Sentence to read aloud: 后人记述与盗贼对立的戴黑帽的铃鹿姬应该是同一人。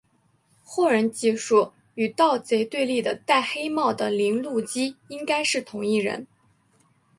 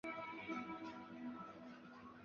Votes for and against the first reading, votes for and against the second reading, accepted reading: 2, 0, 2, 5, first